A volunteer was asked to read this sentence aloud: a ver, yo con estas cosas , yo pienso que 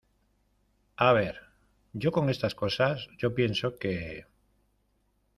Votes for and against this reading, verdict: 1, 2, rejected